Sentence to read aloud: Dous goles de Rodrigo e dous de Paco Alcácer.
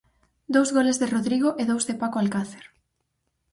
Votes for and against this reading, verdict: 4, 0, accepted